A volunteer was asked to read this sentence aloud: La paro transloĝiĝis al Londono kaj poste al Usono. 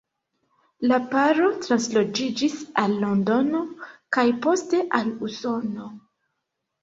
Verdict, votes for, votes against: accepted, 2, 0